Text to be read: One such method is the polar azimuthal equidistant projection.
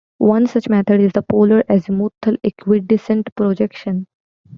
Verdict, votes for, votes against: accepted, 2, 0